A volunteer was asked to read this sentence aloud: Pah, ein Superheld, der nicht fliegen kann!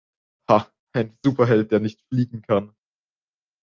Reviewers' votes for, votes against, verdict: 0, 2, rejected